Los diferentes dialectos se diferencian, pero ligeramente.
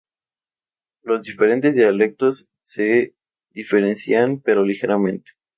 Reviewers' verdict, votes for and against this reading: rejected, 0, 2